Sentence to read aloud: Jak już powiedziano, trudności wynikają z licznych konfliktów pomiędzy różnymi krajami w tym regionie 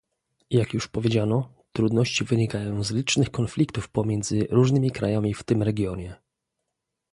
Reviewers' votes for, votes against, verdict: 2, 0, accepted